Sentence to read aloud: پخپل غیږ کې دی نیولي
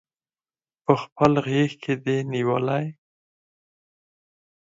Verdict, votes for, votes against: accepted, 4, 2